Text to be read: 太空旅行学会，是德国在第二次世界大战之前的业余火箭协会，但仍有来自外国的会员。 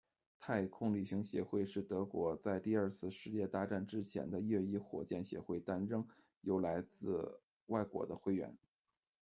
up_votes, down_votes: 1, 2